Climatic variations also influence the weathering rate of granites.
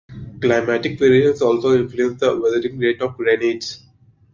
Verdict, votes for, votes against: rejected, 1, 2